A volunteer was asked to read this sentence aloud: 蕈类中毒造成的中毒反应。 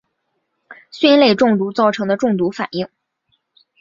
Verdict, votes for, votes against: rejected, 3, 3